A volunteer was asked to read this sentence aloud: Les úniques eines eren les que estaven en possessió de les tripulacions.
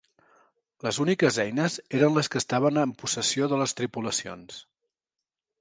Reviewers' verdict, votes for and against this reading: accepted, 3, 0